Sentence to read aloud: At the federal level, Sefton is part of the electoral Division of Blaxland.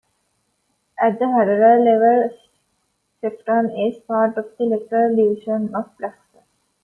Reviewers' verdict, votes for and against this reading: rejected, 0, 2